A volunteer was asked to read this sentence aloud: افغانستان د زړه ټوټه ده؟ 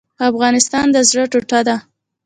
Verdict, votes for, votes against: accepted, 2, 1